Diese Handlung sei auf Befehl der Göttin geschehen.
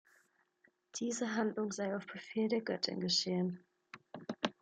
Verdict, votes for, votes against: accepted, 2, 0